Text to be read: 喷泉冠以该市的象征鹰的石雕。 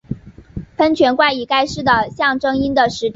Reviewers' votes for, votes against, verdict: 0, 2, rejected